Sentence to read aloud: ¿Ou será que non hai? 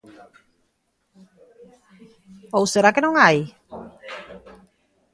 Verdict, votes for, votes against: accepted, 2, 0